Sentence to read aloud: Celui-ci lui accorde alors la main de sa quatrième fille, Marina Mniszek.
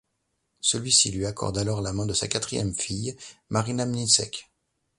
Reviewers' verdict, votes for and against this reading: accepted, 2, 0